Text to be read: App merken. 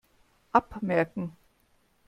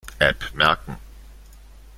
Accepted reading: second